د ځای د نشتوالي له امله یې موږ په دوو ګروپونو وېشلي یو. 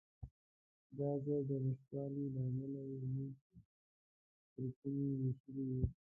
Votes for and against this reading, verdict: 1, 2, rejected